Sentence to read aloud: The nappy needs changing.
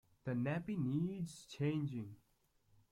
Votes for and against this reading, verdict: 1, 2, rejected